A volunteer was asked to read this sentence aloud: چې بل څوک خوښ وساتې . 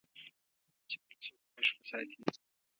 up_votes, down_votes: 1, 2